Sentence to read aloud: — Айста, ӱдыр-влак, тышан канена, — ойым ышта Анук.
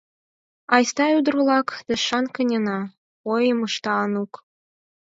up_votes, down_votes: 4, 0